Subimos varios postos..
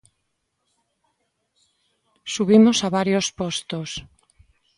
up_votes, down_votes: 0, 2